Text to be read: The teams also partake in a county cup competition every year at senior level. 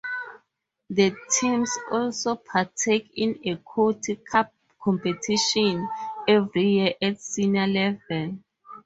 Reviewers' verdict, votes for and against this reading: rejected, 2, 4